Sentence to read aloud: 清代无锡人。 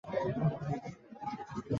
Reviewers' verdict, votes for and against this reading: rejected, 0, 2